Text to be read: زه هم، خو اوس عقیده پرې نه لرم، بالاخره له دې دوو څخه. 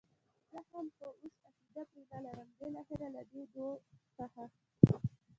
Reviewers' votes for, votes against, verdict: 1, 2, rejected